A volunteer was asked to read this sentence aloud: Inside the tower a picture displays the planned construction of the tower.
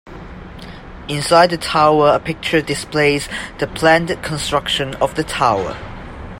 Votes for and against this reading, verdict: 2, 0, accepted